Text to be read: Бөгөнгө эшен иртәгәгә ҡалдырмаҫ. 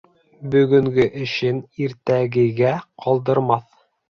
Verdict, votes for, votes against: accepted, 3, 0